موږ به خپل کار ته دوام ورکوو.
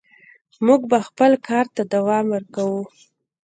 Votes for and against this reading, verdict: 1, 2, rejected